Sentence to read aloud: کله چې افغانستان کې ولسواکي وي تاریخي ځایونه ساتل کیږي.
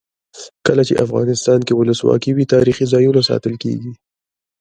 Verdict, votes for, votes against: rejected, 0, 2